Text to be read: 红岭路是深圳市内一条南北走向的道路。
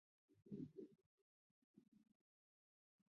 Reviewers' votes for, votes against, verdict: 1, 2, rejected